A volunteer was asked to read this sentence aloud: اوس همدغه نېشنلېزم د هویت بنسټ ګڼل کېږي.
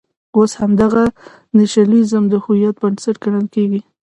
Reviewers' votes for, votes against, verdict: 2, 0, accepted